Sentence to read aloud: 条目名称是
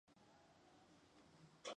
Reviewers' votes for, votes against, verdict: 1, 2, rejected